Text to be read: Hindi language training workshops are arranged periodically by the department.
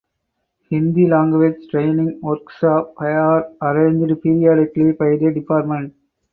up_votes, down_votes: 0, 4